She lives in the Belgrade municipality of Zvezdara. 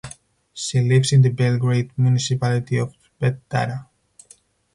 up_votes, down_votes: 2, 2